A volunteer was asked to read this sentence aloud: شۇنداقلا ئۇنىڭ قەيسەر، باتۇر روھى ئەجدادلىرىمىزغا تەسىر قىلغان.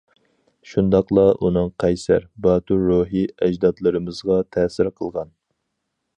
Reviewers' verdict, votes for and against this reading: accepted, 4, 0